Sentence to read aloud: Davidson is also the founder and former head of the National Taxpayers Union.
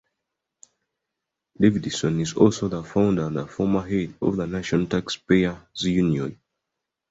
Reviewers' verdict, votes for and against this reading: accepted, 2, 1